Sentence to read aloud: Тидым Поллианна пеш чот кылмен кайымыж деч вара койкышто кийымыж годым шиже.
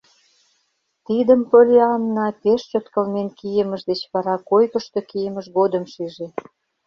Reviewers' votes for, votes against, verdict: 1, 2, rejected